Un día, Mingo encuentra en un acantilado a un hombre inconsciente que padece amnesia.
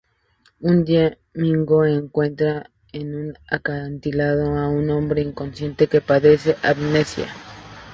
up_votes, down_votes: 2, 2